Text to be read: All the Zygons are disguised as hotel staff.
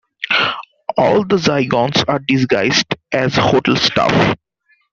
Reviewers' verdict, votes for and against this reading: rejected, 1, 2